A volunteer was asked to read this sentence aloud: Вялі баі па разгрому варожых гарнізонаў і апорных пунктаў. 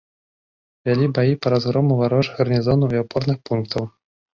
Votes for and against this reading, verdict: 3, 0, accepted